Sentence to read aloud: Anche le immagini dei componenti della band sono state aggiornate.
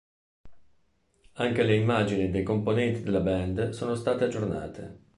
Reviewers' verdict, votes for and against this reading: accepted, 3, 0